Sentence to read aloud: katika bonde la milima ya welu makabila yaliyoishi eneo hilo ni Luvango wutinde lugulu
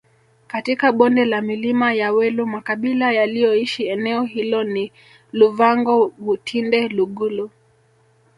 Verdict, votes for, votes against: rejected, 1, 2